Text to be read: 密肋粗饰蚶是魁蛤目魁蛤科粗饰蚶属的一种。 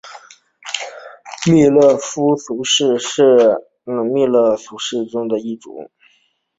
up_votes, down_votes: 2, 0